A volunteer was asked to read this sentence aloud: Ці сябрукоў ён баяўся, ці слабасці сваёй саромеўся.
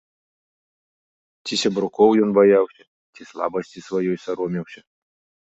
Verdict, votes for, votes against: accepted, 2, 0